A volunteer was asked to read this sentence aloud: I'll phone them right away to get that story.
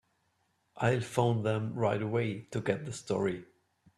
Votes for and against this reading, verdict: 0, 3, rejected